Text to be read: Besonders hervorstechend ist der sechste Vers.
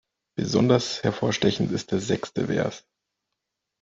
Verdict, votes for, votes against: rejected, 0, 2